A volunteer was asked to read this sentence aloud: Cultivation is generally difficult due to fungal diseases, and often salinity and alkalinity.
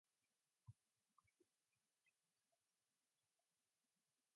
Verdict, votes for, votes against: rejected, 0, 2